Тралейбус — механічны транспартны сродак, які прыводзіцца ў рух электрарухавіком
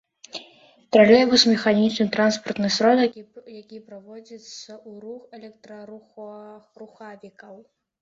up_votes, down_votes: 0, 2